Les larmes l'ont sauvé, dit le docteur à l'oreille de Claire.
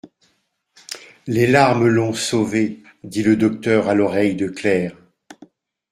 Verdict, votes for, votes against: accepted, 2, 0